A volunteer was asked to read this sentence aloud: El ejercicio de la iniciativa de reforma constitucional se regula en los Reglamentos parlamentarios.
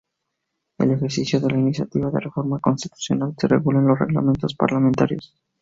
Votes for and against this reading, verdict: 0, 2, rejected